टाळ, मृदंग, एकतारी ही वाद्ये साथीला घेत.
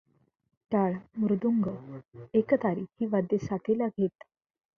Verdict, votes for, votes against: rejected, 0, 2